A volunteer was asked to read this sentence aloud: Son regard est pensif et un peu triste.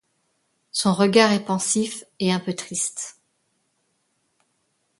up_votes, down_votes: 2, 0